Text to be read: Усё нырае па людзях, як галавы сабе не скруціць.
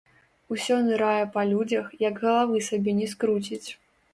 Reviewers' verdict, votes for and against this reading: rejected, 0, 2